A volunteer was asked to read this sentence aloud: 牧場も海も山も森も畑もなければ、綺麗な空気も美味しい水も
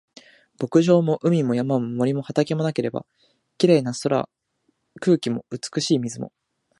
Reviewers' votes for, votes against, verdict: 1, 2, rejected